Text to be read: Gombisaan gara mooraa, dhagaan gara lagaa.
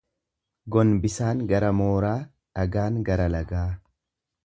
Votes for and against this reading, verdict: 2, 0, accepted